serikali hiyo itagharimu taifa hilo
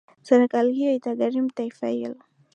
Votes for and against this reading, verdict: 2, 0, accepted